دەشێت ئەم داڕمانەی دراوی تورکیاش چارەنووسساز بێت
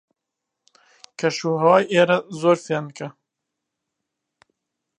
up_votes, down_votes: 0, 2